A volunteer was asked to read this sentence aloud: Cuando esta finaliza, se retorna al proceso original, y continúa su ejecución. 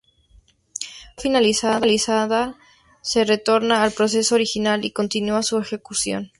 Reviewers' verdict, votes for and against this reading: rejected, 0, 2